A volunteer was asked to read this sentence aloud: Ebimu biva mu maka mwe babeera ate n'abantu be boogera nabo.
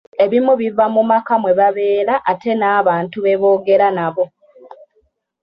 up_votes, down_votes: 2, 0